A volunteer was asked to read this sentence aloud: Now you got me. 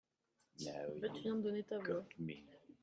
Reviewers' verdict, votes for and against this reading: rejected, 1, 2